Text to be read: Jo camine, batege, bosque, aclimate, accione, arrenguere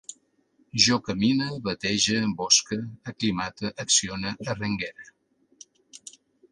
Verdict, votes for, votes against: accepted, 2, 0